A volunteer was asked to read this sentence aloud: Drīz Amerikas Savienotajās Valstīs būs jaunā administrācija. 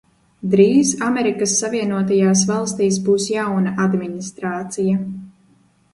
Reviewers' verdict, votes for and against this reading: rejected, 0, 2